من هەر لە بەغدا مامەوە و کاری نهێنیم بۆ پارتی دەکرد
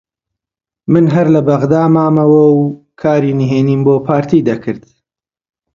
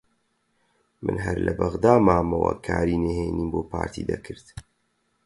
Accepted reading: first